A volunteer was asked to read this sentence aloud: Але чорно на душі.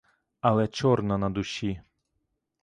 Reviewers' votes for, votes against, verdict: 2, 0, accepted